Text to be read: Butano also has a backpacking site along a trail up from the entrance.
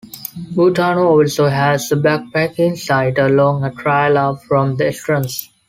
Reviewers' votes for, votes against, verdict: 1, 2, rejected